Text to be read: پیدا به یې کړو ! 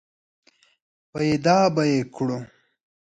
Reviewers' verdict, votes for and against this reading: accepted, 3, 0